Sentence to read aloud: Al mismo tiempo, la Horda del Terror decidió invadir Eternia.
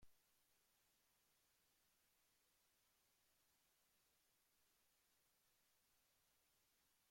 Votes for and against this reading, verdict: 1, 2, rejected